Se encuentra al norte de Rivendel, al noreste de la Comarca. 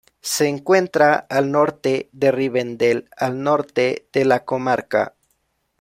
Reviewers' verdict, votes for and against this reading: rejected, 0, 2